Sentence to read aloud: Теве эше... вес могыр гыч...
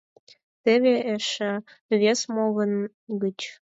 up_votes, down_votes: 4, 0